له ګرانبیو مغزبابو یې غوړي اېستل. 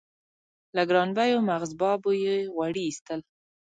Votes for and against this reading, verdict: 0, 2, rejected